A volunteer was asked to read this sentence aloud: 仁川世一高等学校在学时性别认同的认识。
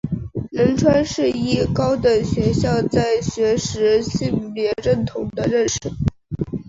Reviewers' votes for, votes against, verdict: 4, 1, accepted